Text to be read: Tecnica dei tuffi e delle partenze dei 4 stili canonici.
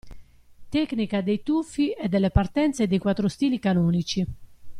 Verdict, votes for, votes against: rejected, 0, 2